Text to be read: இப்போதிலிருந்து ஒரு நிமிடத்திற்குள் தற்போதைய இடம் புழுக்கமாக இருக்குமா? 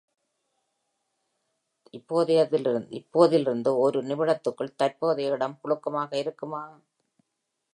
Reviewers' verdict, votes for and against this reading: rejected, 0, 2